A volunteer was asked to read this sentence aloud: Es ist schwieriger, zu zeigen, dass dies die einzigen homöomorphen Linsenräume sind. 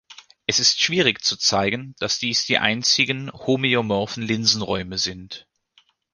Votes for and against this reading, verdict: 1, 2, rejected